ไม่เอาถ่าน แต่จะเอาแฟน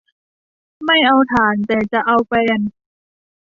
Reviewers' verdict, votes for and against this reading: accepted, 2, 0